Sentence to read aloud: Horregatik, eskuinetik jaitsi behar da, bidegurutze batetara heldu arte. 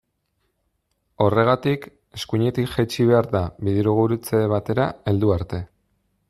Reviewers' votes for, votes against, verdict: 1, 2, rejected